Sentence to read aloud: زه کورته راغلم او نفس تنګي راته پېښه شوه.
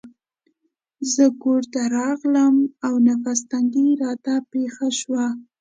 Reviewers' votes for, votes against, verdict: 2, 0, accepted